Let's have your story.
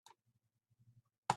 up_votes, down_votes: 0, 2